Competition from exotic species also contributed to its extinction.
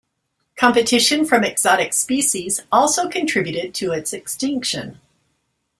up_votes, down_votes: 2, 0